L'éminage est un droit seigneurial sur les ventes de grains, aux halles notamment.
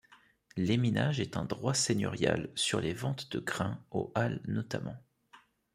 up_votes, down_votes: 2, 0